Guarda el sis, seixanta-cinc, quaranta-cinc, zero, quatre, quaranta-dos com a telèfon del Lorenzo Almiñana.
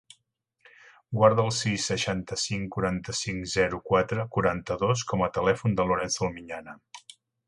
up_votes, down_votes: 2, 1